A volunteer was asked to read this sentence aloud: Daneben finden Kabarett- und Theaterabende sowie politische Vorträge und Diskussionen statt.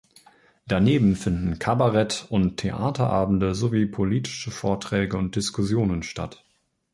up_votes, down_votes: 2, 0